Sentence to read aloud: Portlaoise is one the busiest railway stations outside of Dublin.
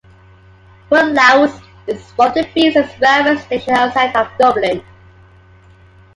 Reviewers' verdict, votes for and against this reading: rejected, 1, 2